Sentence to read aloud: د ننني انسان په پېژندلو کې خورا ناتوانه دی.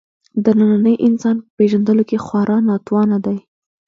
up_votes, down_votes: 2, 0